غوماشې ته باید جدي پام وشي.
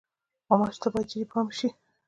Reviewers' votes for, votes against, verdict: 2, 0, accepted